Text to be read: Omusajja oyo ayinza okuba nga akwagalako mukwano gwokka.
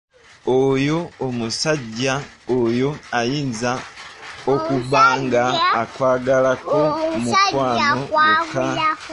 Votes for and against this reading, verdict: 0, 2, rejected